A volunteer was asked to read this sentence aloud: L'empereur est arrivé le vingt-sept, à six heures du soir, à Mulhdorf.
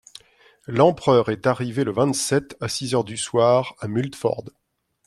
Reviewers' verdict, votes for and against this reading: rejected, 0, 2